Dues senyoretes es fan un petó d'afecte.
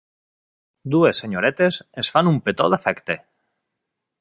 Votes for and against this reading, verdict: 2, 0, accepted